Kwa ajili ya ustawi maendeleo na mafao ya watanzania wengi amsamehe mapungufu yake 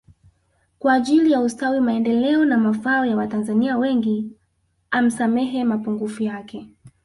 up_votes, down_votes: 1, 2